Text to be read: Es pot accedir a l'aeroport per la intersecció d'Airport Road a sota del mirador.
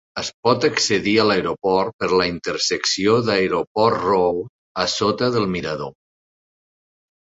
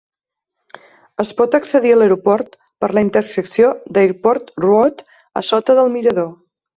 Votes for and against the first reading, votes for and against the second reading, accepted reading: 1, 2, 5, 1, second